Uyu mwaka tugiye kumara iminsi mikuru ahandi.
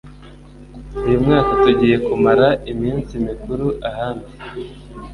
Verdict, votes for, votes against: accepted, 2, 0